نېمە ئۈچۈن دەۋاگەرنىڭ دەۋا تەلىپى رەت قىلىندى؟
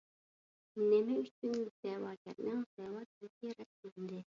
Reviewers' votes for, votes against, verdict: 1, 2, rejected